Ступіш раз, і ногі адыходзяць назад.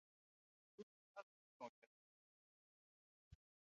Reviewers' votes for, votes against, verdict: 0, 2, rejected